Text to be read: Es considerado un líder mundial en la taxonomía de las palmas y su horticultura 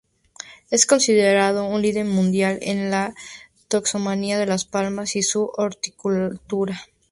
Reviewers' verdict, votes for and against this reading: accepted, 4, 0